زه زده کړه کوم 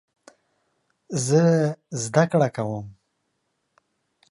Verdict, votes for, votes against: accepted, 2, 0